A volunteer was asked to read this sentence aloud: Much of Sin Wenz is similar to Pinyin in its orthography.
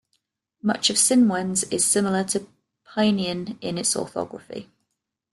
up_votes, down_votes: 0, 2